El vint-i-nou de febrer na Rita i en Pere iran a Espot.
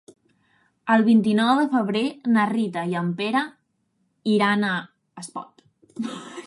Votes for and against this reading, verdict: 0, 2, rejected